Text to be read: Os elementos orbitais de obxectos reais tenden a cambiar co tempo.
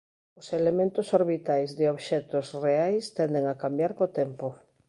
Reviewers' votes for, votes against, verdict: 2, 0, accepted